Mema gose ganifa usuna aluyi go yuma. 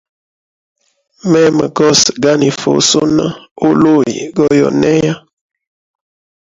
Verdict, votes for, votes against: accepted, 2, 0